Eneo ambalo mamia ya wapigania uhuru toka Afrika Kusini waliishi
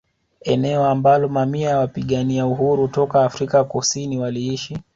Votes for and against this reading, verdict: 2, 0, accepted